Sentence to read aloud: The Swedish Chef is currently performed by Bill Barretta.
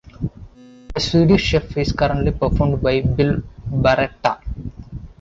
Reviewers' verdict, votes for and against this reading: accepted, 2, 1